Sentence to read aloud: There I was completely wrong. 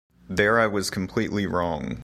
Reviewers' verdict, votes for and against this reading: accepted, 2, 0